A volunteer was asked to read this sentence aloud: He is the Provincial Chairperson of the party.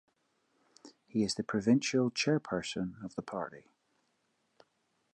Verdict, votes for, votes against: accepted, 2, 0